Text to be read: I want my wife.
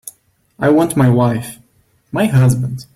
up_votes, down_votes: 0, 2